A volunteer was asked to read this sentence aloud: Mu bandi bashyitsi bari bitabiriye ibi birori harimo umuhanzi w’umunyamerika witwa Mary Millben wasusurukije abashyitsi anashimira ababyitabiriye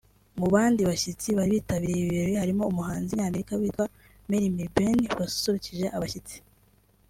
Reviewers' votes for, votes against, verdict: 1, 2, rejected